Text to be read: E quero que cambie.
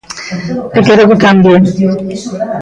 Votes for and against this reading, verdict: 0, 2, rejected